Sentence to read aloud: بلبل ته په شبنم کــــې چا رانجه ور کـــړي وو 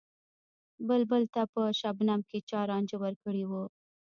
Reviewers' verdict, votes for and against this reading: rejected, 1, 2